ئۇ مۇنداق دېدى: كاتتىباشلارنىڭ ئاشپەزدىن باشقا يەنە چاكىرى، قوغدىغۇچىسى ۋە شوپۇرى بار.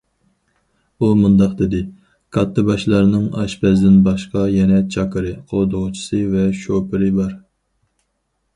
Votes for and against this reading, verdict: 4, 0, accepted